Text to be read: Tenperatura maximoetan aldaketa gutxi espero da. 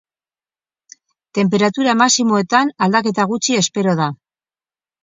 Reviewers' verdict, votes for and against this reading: accepted, 2, 0